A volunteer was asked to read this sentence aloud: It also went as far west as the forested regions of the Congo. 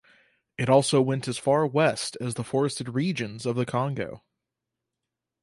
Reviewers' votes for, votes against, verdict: 4, 0, accepted